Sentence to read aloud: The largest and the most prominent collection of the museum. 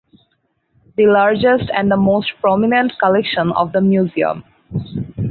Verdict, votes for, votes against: accepted, 4, 0